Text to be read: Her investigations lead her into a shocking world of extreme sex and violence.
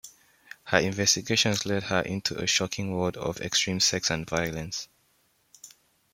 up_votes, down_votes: 2, 1